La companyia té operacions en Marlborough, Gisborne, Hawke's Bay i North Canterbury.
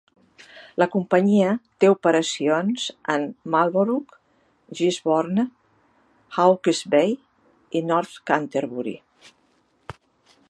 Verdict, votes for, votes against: accepted, 2, 0